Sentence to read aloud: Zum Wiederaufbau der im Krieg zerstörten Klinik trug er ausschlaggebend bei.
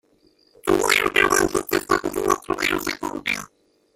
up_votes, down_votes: 0, 2